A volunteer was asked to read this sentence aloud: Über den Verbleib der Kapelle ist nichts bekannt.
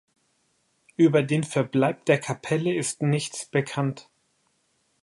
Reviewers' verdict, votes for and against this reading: accepted, 2, 0